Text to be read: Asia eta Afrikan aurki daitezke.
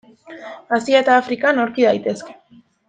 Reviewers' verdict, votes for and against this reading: accepted, 2, 1